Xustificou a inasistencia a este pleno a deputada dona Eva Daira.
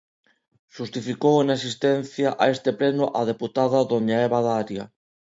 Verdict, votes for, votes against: rejected, 1, 2